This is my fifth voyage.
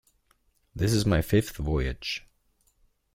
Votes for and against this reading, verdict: 2, 0, accepted